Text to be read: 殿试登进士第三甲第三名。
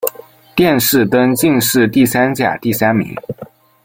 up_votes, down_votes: 2, 0